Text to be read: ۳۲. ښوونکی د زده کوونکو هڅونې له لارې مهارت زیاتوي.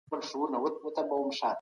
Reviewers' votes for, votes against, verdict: 0, 2, rejected